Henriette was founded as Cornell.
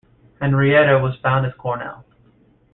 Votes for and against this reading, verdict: 0, 2, rejected